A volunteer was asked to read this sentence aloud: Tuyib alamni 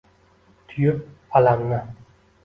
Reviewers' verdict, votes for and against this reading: accepted, 2, 0